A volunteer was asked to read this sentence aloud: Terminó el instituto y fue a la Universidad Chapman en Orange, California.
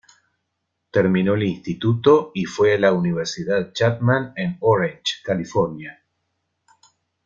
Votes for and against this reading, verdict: 2, 0, accepted